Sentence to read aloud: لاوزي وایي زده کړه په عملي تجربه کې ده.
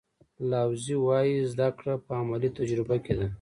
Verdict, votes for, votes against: accepted, 2, 0